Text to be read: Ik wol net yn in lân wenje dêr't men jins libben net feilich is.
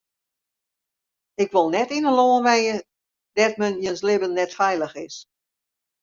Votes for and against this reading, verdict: 2, 0, accepted